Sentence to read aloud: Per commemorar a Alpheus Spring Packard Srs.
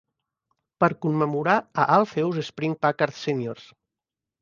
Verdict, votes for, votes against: accepted, 2, 0